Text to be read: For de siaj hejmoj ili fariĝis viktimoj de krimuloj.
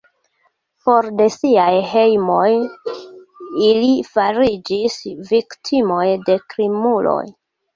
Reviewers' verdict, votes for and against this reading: accepted, 2, 0